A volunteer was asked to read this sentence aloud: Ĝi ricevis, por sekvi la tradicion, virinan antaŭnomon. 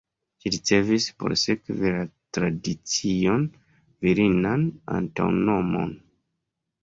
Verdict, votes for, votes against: accepted, 2, 0